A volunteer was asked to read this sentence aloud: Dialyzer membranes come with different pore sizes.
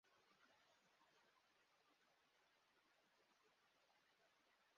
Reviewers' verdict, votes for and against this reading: rejected, 0, 2